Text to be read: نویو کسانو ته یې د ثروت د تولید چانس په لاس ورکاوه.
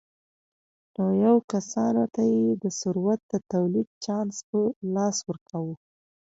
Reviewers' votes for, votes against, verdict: 2, 1, accepted